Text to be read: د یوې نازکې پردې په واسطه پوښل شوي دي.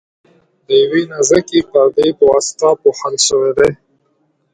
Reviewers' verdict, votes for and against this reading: accepted, 2, 0